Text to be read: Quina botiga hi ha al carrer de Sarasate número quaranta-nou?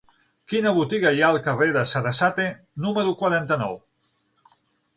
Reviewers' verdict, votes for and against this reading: accepted, 9, 0